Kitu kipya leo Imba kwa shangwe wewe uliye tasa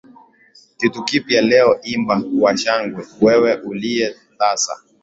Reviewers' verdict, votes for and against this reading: accepted, 2, 0